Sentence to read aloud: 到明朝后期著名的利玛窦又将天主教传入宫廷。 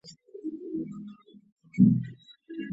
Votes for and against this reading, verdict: 0, 3, rejected